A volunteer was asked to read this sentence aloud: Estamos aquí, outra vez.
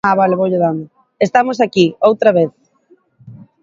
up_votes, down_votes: 0, 2